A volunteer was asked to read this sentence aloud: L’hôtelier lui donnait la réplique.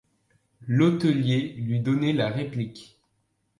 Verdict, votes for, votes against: accepted, 2, 0